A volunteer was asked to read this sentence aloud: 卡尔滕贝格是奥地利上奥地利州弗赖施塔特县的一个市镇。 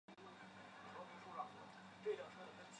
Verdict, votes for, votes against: rejected, 0, 3